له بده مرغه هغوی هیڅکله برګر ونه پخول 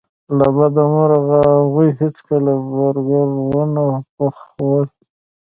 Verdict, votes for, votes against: accepted, 2, 0